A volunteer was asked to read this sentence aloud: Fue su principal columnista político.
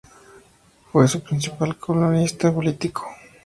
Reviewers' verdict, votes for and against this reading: accepted, 2, 0